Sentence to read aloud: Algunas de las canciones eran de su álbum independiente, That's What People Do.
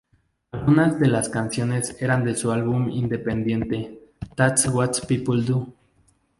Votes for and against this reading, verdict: 2, 0, accepted